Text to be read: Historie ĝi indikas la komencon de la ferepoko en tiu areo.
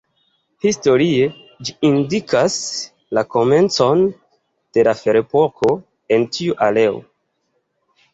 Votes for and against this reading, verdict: 1, 2, rejected